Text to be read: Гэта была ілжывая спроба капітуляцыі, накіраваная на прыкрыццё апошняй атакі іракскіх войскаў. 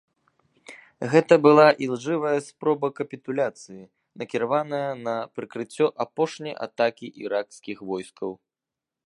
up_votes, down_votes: 2, 0